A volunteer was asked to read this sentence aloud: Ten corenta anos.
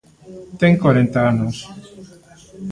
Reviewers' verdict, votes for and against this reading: accepted, 2, 0